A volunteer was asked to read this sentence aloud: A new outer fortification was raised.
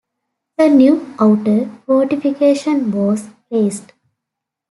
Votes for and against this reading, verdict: 2, 0, accepted